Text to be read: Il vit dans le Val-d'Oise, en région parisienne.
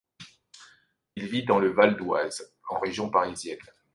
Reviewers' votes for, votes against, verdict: 2, 0, accepted